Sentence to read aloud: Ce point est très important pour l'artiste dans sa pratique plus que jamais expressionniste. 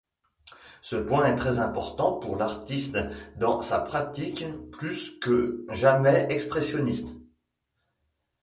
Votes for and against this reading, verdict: 2, 0, accepted